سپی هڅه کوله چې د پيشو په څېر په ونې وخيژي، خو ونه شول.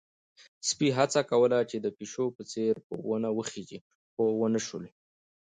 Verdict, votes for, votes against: accepted, 2, 0